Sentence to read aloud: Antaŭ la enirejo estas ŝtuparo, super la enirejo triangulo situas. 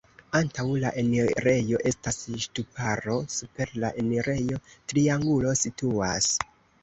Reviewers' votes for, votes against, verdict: 3, 0, accepted